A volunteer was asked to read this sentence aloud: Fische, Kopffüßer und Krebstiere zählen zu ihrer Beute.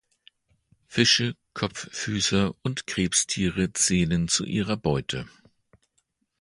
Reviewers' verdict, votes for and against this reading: accepted, 2, 0